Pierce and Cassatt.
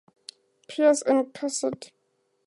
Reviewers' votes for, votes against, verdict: 2, 0, accepted